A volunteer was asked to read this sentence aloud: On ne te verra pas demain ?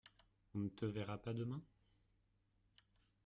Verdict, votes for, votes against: rejected, 0, 2